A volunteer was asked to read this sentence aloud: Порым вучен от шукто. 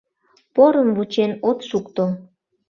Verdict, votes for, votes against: accepted, 2, 0